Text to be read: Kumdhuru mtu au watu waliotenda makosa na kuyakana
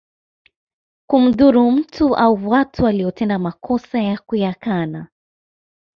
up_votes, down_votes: 2, 0